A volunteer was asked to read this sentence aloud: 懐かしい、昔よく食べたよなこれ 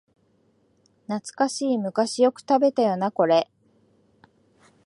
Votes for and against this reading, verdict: 2, 0, accepted